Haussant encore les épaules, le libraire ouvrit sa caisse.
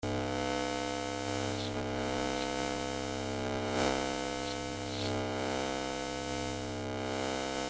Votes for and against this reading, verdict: 0, 2, rejected